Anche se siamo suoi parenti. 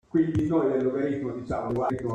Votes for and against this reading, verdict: 0, 2, rejected